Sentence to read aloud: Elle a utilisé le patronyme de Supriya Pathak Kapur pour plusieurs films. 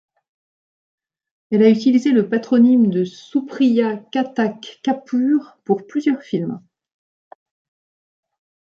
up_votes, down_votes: 0, 2